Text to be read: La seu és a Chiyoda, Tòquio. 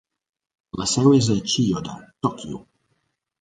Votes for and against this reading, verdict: 3, 0, accepted